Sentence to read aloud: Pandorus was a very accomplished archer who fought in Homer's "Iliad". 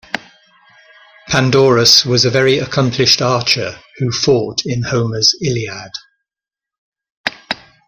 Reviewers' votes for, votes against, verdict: 2, 0, accepted